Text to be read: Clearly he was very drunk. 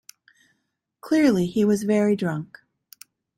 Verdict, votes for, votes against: accepted, 2, 0